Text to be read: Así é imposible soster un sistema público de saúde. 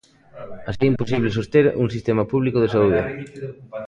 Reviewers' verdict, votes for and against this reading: rejected, 0, 2